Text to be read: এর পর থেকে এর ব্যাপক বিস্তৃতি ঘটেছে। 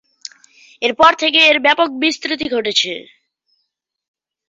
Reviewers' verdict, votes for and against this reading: rejected, 0, 2